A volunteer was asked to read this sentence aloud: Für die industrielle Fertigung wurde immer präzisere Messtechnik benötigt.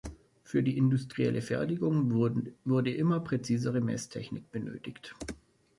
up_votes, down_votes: 1, 2